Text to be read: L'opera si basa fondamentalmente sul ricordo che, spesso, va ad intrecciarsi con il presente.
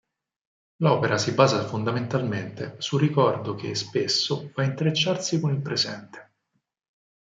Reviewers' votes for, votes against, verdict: 4, 2, accepted